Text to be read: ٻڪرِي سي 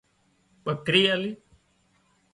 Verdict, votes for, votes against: rejected, 0, 2